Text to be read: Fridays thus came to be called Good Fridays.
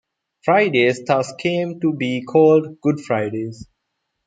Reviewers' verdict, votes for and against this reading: accepted, 2, 0